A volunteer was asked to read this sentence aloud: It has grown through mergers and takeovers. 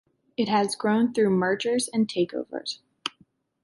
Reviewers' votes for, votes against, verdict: 2, 0, accepted